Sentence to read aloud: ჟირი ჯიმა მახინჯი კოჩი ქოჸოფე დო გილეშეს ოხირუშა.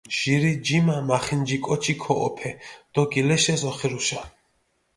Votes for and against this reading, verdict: 2, 0, accepted